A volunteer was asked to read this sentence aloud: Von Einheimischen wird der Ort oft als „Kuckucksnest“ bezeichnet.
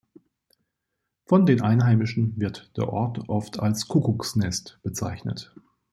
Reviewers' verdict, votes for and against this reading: rejected, 0, 2